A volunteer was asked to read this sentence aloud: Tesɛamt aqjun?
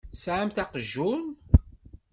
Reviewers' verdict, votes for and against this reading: accepted, 2, 0